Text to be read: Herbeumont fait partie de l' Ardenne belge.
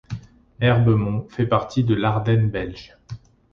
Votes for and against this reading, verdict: 2, 0, accepted